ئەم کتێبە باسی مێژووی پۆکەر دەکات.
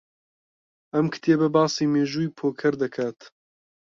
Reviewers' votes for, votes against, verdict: 2, 0, accepted